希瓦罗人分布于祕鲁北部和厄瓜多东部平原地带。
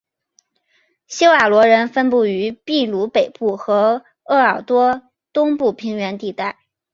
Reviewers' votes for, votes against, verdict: 2, 1, accepted